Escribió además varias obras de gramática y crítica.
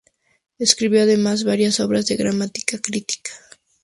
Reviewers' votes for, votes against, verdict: 2, 2, rejected